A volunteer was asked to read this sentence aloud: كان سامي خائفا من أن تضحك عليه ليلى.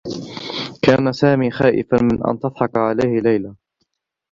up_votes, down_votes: 2, 1